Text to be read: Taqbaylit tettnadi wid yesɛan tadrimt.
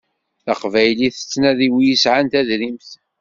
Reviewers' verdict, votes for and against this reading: accepted, 2, 0